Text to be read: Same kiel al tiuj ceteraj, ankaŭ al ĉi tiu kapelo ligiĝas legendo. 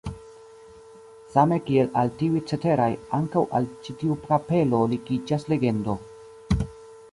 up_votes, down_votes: 1, 2